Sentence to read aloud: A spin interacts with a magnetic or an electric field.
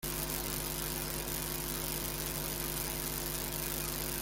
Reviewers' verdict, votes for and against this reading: rejected, 0, 2